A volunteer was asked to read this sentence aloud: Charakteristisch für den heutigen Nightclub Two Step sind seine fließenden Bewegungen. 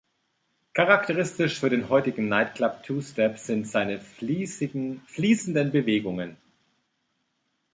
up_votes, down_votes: 0, 2